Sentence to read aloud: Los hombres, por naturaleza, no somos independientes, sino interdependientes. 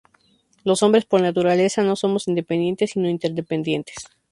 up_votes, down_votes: 0, 2